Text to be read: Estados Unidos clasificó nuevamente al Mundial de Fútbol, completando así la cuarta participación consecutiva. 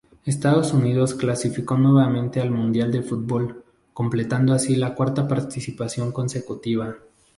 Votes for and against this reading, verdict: 2, 0, accepted